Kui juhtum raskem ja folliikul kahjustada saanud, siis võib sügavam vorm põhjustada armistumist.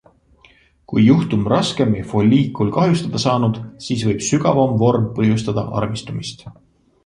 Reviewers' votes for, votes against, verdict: 2, 0, accepted